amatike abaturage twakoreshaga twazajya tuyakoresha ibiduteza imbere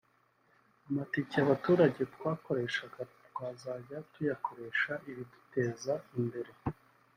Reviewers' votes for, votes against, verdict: 3, 0, accepted